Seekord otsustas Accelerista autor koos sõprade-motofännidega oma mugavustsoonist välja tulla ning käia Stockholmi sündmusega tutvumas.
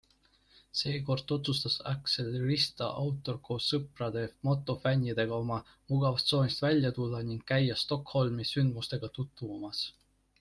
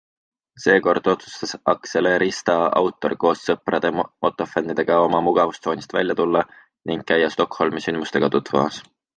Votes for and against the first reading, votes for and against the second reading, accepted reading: 2, 0, 1, 2, first